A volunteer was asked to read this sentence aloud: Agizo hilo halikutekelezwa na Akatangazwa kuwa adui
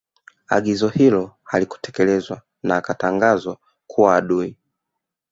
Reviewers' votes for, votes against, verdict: 1, 2, rejected